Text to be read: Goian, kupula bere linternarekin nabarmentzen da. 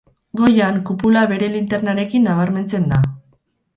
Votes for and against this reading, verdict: 2, 2, rejected